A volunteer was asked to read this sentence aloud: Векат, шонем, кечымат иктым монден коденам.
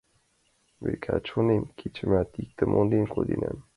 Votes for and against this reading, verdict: 2, 0, accepted